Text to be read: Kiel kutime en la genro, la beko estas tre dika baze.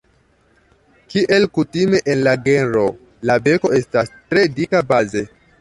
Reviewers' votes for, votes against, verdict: 2, 0, accepted